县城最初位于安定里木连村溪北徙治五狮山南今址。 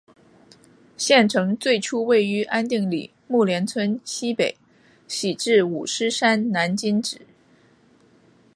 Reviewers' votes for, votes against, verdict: 2, 0, accepted